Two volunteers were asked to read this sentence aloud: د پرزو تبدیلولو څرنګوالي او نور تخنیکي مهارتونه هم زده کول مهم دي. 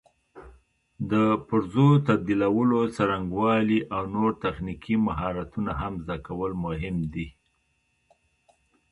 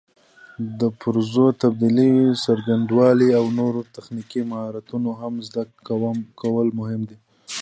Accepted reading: second